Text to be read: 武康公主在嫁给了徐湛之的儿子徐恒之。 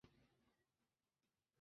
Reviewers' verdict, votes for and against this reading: rejected, 0, 2